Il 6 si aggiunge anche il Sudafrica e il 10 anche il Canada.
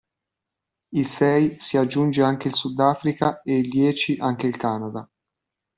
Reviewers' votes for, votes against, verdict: 0, 2, rejected